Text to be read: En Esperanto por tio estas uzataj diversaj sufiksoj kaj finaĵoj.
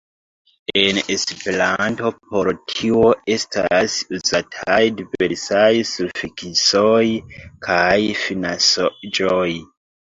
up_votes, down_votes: 0, 2